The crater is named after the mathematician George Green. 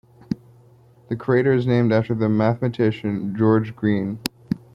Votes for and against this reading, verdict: 2, 1, accepted